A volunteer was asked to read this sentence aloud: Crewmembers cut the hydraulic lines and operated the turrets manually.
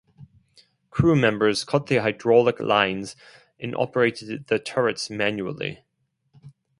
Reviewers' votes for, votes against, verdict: 2, 2, rejected